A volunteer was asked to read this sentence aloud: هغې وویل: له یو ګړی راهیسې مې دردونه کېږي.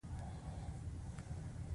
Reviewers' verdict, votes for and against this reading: accepted, 2, 1